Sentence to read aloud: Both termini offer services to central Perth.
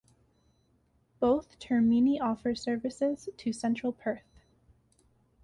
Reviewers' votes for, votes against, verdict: 2, 0, accepted